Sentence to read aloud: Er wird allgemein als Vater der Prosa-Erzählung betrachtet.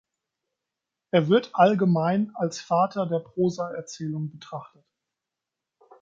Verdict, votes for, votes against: accepted, 2, 0